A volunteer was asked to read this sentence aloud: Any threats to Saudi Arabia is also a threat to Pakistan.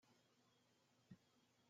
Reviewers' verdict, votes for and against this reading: rejected, 0, 2